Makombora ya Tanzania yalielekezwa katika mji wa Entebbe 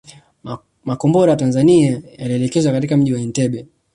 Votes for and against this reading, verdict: 2, 0, accepted